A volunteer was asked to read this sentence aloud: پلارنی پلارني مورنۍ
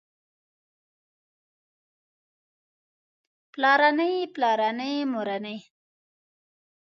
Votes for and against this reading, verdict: 2, 0, accepted